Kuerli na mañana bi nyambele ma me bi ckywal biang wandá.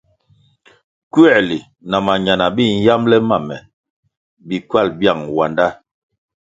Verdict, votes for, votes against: accepted, 2, 0